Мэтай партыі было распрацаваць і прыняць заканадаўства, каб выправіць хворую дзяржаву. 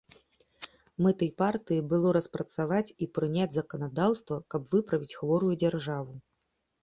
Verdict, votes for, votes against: accepted, 3, 0